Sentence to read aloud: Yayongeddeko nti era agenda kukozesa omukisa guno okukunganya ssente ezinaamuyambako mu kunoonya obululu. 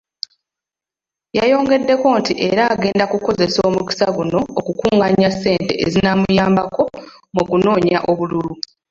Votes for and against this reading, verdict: 1, 2, rejected